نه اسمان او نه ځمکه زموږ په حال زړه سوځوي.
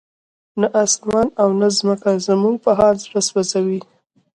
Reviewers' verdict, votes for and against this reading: accepted, 2, 0